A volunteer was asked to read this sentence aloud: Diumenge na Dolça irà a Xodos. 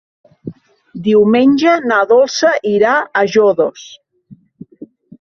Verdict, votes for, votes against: rejected, 1, 2